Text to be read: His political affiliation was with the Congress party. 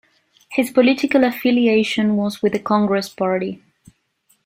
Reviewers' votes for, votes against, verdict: 2, 0, accepted